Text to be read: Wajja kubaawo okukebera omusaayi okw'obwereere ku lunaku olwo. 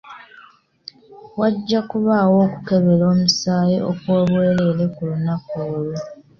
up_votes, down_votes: 2, 1